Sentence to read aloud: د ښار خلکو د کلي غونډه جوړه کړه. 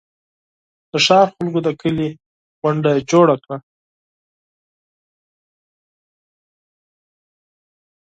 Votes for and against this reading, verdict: 4, 0, accepted